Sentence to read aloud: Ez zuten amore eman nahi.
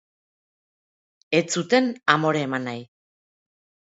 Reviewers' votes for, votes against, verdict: 1, 2, rejected